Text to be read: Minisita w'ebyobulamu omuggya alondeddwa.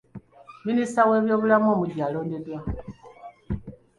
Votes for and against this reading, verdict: 2, 1, accepted